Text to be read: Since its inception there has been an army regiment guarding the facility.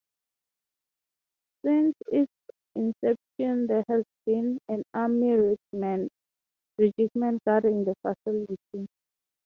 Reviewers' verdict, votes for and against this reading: rejected, 0, 6